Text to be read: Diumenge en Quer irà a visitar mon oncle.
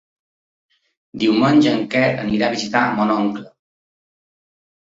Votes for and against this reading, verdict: 0, 2, rejected